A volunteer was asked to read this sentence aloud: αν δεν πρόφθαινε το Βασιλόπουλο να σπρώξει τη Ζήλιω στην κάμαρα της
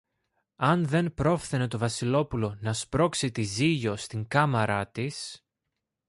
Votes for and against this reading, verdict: 2, 0, accepted